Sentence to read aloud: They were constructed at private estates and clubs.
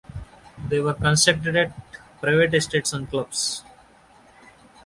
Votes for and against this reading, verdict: 0, 2, rejected